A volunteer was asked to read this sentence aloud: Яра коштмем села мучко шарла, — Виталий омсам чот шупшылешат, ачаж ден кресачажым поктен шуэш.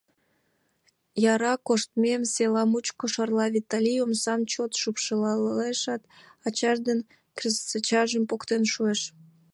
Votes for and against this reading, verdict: 1, 2, rejected